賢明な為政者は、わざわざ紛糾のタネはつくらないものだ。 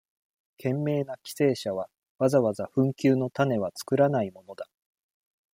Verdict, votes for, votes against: rejected, 1, 2